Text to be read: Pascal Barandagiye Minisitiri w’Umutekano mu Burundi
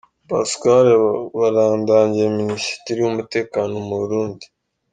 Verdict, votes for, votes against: rejected, 2, 3